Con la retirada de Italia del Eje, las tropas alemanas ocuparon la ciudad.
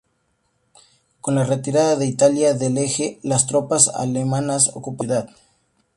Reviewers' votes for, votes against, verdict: 0, 2, rejected